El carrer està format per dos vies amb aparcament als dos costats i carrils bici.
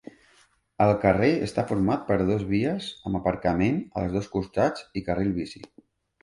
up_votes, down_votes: 2, 0